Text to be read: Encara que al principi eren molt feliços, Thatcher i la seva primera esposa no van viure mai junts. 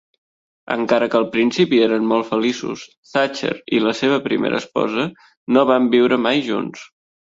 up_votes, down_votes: 3, 0